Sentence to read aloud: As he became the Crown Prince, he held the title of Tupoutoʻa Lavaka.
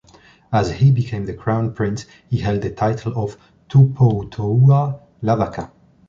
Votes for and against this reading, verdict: 2, 1, accepted